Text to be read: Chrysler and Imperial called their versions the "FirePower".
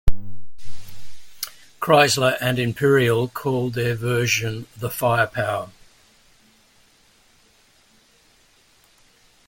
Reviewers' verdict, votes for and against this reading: accepted, 2, 1